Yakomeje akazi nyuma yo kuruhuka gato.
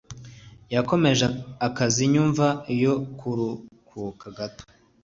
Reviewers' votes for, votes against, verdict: 0, 2, rejected